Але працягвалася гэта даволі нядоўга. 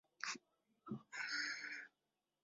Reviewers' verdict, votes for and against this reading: rejected, 0, 2